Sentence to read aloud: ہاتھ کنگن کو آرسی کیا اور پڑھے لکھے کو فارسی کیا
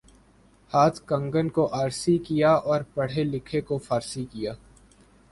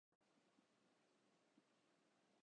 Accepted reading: first